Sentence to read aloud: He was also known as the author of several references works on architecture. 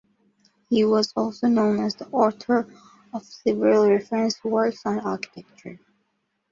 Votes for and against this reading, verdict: 1, 2, rejected